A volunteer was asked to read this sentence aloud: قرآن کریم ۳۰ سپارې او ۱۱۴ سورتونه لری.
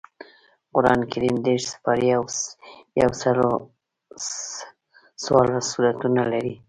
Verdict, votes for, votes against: rejected, 0, 2